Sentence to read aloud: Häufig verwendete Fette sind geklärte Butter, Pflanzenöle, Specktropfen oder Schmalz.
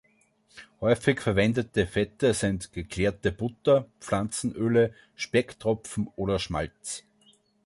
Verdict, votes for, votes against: accepted, 2, 0